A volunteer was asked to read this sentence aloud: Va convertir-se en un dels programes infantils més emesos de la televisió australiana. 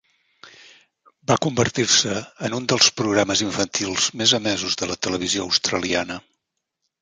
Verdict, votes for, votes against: accepted, 2, 1